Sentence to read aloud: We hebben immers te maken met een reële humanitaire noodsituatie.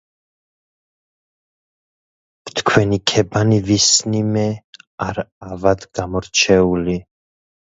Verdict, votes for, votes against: rejected, 0, 2